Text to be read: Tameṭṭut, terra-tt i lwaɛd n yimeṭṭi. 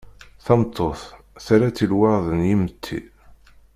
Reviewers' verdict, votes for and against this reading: rejected, 1, 2